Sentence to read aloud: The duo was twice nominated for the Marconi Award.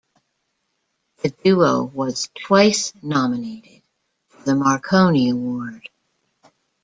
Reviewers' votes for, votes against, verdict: 0, 2, rejected